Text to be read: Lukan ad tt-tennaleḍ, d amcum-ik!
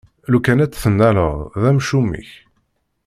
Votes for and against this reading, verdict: 2, 0, accepted